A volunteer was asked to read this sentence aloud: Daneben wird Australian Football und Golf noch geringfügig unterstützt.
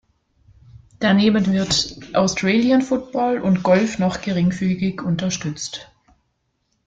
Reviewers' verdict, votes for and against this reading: accepted, 2, 0